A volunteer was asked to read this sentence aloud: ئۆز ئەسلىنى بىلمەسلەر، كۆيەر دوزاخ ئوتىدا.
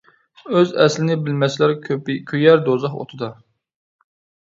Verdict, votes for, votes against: rejected, 0, 2